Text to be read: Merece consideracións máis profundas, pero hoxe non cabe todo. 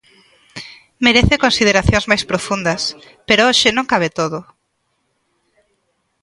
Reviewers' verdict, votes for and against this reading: accepted, 2, 0